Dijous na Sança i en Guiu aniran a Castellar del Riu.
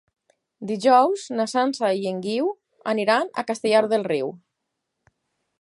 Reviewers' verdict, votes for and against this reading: accepted, 6, 0